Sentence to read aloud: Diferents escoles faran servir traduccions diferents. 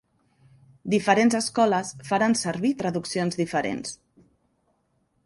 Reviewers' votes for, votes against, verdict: 3, 0, accepted